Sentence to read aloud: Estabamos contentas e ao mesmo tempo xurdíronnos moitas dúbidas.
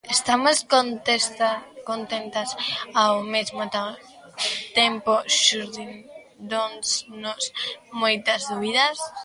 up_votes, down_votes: 0, 2